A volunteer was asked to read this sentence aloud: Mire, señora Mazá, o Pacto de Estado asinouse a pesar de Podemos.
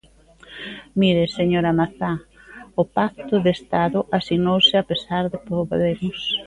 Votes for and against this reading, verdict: 2, 0, accepted